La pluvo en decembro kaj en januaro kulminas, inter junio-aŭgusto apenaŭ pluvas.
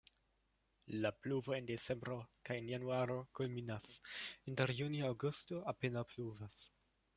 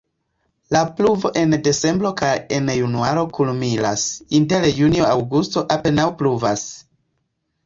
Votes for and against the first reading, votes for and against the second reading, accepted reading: 2, 0, 1, 2, first